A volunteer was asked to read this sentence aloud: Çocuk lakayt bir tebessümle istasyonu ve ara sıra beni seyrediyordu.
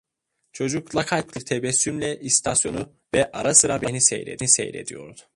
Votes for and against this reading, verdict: 0, 2, rejected